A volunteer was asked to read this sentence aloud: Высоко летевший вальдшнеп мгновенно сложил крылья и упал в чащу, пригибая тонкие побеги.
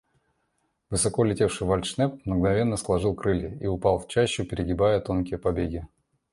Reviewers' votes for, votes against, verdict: 2, 0, accepted